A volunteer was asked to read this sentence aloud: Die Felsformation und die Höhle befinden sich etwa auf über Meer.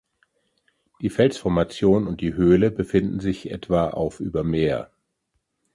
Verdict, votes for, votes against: rejected, 0, 2